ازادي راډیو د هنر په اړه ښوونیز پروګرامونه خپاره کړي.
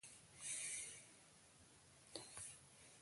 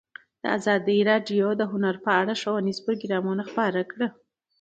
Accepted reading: second